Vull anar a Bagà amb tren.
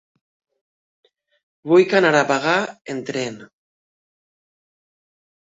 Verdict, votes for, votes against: rejected, 2, 3